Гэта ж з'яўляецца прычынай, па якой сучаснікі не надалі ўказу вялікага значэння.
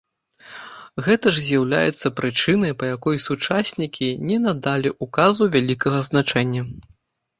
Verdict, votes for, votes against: rejected, 1, 2